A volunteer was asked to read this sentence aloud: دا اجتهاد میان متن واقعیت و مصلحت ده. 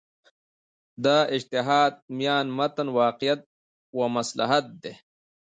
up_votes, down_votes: 0, 2